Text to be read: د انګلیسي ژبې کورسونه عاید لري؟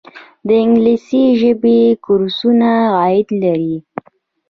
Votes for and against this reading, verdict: 1, 2, rejected